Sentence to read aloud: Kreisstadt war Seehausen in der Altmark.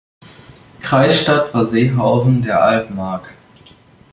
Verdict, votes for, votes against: rejected, 1, 2